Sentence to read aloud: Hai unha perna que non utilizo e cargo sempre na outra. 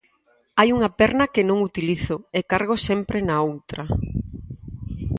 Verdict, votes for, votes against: accepted, 4, 0